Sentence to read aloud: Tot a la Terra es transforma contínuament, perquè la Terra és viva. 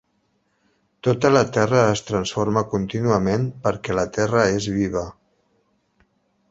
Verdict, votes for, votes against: accepted, 6, 0